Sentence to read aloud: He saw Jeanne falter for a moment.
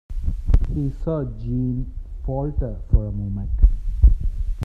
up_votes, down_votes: 1, 2